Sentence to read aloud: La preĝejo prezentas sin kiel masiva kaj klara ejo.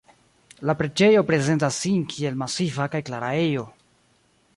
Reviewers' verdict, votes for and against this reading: rejected, 1, 2